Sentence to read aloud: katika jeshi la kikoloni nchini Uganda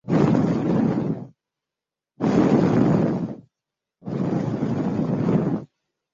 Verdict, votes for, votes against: rejected, 0, 2